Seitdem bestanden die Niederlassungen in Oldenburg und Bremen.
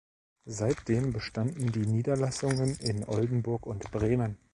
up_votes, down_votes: 2, 0